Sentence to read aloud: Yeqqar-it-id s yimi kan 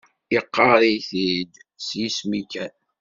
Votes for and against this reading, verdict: 0, 2, rejected